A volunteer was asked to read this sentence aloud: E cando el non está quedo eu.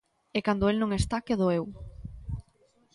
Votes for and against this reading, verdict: 2, 0, accepted